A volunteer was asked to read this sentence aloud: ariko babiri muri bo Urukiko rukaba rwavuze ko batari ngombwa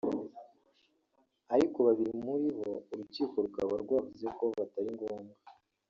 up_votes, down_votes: 0, 2